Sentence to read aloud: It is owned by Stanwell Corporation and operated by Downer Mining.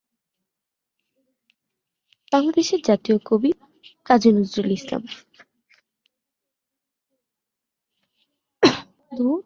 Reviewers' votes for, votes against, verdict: 0, 2, rejected